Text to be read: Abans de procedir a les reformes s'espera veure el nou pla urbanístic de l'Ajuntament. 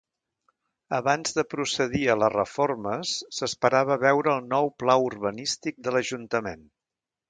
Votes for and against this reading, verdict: 1, 3, rejected